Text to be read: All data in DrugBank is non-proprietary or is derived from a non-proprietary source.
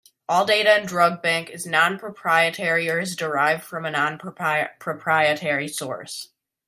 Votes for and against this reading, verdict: 0, 2, rejected